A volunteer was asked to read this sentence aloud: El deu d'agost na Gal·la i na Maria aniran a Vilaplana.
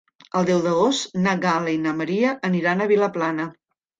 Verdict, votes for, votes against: accepted, 3, 0